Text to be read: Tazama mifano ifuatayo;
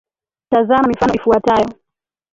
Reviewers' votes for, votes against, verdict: 2, 1, accepted